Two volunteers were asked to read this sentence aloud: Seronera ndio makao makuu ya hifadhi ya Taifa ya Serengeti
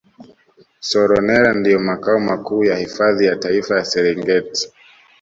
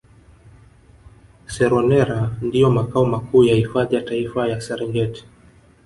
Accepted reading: first